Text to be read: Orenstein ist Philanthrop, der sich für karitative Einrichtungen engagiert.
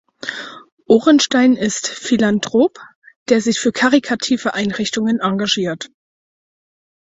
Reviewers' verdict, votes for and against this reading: rejected, 0, 4